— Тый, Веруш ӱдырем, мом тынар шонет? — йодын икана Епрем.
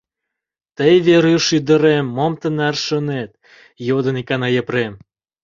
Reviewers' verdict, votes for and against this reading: accepted, 2, 0